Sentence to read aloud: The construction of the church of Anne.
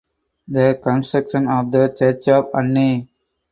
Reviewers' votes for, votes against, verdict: 0, 4, rejected